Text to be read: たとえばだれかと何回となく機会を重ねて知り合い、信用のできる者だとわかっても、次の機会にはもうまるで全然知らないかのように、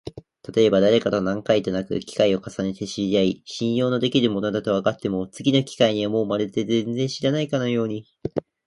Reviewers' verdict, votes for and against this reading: rejected, 1, 2